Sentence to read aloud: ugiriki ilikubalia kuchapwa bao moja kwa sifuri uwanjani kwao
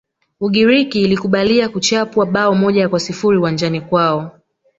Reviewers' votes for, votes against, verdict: 2, 1, accepted